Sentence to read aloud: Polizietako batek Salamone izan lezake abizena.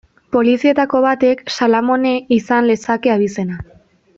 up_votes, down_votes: 2, 0